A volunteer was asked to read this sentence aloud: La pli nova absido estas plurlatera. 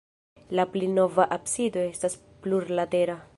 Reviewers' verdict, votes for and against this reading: rejected, 1, 2